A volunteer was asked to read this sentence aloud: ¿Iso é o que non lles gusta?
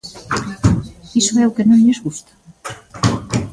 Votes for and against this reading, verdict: 1, 2, rejected